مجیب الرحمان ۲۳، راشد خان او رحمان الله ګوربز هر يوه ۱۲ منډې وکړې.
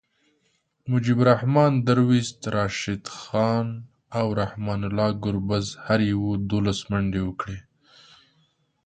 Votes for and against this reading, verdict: 0, 2, rejected